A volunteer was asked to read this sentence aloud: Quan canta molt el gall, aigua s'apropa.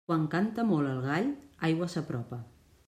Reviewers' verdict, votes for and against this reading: accepted, 3, 0